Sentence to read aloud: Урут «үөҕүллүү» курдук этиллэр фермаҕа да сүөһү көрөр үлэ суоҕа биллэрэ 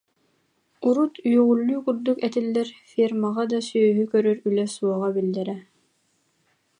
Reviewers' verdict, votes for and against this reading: accepted, 2, 0